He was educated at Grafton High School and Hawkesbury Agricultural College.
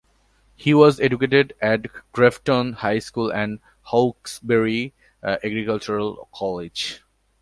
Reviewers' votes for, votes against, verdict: 3, 0, accepted